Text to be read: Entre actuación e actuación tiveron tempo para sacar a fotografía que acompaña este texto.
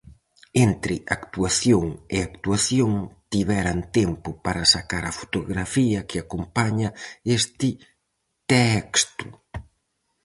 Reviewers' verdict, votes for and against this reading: rejected, 0, 4